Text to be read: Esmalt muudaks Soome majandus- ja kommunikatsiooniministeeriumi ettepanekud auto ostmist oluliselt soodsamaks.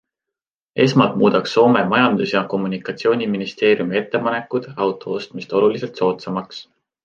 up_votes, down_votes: 2, 0